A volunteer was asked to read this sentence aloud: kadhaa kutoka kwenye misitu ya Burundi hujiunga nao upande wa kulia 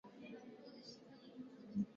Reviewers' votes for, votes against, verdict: 1, 3, rejected